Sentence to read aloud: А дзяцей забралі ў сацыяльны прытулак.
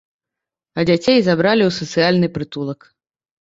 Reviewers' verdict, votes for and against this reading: accepted, 2, 0